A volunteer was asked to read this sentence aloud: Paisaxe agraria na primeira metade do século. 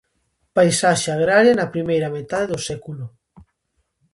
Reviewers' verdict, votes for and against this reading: accepted, 2, 0